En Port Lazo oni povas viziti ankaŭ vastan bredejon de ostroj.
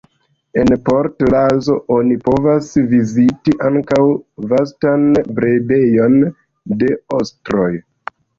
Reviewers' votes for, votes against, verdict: 1, 2, rejected